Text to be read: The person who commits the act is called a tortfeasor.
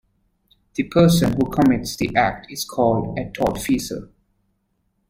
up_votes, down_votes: 0, 2